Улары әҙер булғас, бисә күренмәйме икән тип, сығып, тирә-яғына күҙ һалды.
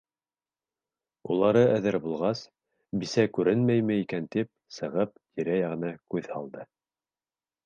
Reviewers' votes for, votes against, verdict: 2, 0, accepted